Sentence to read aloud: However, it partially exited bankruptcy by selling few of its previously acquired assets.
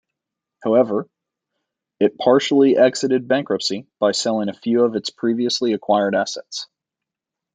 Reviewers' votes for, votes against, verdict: 2, 0, accepted